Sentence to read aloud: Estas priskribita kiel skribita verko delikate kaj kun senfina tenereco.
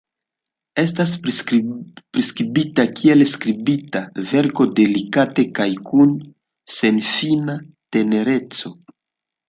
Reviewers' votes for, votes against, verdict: 2, 1, accepted